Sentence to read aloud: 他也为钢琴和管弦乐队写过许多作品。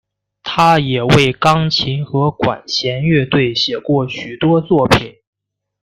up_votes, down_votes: 2, 1